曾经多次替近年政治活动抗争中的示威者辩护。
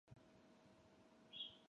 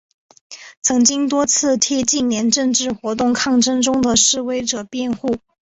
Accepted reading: second